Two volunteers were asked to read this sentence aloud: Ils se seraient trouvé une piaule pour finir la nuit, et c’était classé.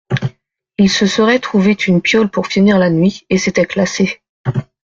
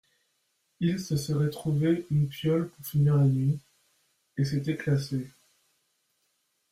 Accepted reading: second